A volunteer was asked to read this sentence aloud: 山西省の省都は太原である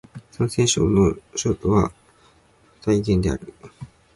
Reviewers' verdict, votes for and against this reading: accepted, 6, 0